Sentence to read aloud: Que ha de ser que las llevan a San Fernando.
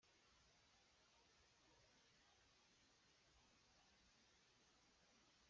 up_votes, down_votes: 0, 2